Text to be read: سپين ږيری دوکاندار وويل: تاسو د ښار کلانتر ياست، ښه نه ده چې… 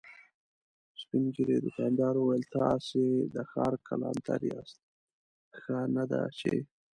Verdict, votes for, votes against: accepted, 2, 0